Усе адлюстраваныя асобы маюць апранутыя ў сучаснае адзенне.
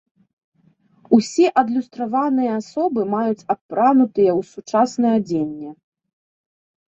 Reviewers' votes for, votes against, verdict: 2, 0, accepted